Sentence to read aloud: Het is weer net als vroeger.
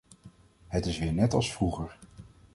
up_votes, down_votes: 2, 0